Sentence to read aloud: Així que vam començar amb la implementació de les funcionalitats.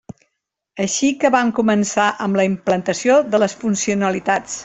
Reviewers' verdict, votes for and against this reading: rejected, 0, 2